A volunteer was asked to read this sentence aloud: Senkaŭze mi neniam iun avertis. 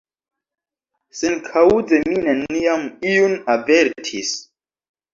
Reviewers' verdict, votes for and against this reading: rejected, 0, 2